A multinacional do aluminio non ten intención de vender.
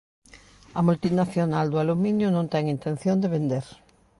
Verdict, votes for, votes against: accepted, 2, 0